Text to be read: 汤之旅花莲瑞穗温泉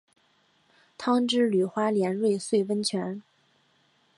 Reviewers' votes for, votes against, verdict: 2, 0, accepted